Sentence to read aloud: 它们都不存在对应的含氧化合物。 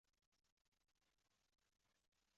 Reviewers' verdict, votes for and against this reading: rejected, 0, 2